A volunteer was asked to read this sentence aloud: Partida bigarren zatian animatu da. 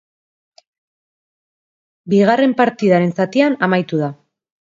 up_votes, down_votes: 0, 3